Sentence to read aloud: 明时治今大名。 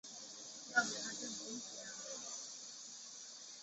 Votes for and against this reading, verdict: 0, 2, rejected